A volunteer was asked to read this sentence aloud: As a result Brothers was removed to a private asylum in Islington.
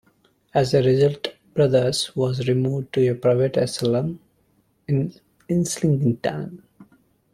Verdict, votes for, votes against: rejected, 0, 2